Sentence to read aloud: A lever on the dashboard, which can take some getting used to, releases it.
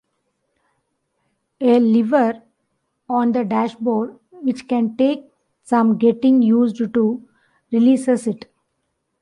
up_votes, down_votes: 2, 0